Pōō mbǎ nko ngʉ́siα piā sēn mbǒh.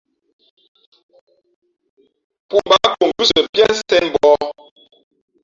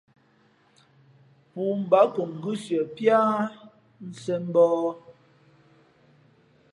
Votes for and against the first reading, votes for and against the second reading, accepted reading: 4, 2, 0, 2, first